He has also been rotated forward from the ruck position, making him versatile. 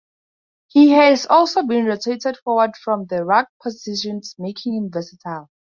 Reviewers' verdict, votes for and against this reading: rejected, 2, 4